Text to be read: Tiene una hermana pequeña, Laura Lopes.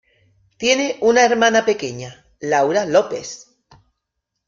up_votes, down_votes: 2, 0